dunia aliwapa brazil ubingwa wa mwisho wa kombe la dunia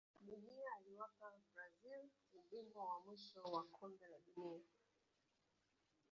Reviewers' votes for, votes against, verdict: 0, 2, rejected